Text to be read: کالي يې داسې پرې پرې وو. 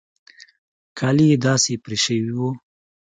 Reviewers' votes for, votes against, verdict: 2, 0, accepted